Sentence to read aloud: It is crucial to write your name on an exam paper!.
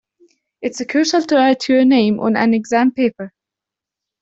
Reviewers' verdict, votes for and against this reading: accepted, 2, 0